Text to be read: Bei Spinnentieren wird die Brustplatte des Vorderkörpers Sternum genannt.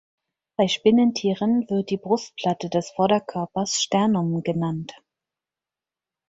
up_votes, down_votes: 4, 0